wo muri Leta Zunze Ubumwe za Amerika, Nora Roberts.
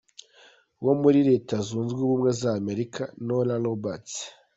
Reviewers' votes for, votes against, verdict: 2, 0, accepted